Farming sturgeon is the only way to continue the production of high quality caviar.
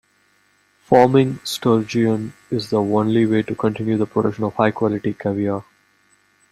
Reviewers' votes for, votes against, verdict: 2, 0, accepted